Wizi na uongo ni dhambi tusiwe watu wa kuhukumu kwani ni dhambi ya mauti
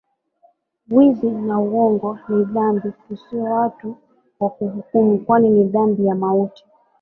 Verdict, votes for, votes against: accepted, 2, 0